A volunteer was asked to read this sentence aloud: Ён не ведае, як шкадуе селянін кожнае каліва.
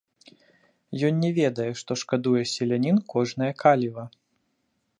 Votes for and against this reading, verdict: 1, 2, rejected